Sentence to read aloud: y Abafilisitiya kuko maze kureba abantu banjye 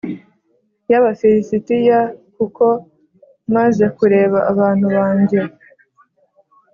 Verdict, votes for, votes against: accepted, 2, 0